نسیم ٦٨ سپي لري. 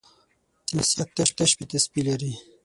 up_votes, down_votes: 0, 2